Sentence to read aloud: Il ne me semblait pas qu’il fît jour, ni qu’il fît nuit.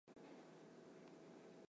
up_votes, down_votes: 0, 2